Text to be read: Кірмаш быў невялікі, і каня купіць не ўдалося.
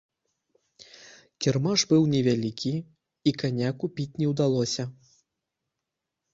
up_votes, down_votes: 2, 0